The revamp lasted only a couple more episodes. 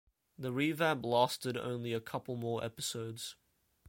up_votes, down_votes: 2, 0